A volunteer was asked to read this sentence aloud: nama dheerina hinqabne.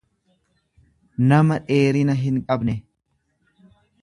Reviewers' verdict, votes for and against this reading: accepted, 2, 0